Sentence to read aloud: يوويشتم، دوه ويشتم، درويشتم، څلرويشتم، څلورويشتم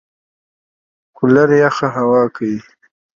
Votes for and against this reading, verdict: 2, 0, accepted